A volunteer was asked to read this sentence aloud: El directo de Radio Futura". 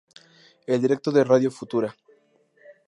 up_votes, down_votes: 2, 0